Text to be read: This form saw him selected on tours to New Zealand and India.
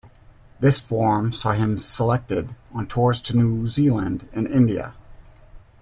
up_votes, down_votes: 2, 0